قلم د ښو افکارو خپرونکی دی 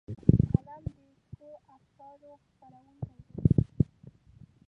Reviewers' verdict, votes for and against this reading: rejected, 0, 2